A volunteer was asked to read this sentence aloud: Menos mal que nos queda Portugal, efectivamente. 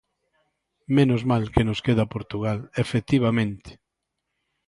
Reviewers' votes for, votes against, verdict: 2, 0, accepted